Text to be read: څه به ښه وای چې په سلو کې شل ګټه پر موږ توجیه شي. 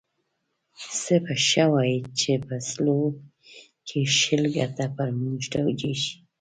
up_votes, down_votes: 2, 1